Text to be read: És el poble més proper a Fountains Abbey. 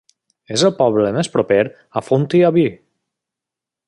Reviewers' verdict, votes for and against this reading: rejected, 1, 2